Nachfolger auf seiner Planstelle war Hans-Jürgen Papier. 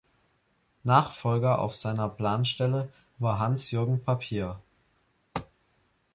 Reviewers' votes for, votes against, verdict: 2, 0, accepted